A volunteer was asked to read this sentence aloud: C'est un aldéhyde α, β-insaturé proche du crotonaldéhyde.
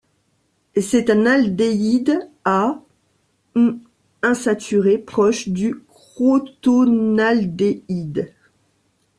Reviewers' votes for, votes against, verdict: 0, 2, rejected